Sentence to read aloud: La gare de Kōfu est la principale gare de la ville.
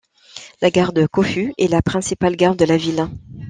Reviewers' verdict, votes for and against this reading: accepted, 3, 0